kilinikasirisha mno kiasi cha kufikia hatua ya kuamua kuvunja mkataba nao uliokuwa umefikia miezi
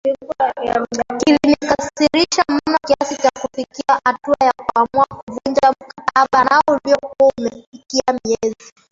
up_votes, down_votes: 0, 2